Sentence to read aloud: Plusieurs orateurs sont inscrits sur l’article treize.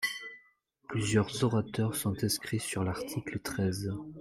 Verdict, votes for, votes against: accepted, 2, 1